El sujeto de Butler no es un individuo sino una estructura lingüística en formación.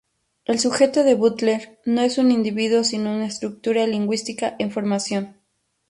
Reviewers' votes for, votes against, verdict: 2, 0, accepted